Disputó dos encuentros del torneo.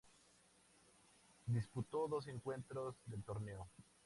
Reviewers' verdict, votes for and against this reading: rejected, 2, 2